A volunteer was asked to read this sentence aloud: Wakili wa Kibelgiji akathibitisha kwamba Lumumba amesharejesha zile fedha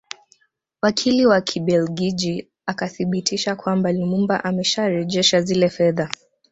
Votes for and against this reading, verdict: 1, 2, rejected